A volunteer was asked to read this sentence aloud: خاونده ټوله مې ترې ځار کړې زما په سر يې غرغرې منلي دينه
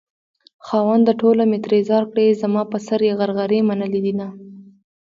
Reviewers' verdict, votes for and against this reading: accepted, 2, 0